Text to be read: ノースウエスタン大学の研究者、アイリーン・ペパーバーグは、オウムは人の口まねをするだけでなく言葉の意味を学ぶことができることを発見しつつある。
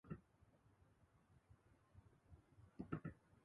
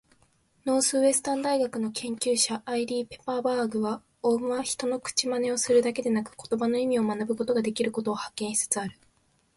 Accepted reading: second